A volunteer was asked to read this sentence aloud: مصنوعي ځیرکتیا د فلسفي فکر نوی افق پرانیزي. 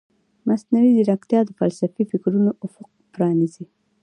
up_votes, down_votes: 1, 2